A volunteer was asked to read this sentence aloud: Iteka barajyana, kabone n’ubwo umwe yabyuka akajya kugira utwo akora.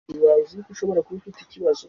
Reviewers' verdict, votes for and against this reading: rejected, 1, 2